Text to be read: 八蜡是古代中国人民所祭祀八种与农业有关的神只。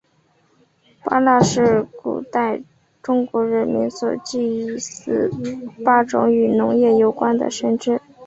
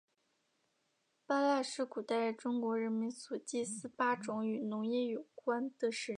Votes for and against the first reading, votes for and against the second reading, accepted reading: 3, 0, 0, 2, first